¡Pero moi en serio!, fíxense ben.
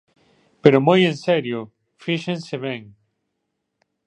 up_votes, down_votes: 2, 0